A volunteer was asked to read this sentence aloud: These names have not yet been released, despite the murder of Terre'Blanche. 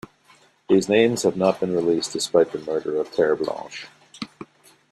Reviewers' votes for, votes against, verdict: 0, 2, rejected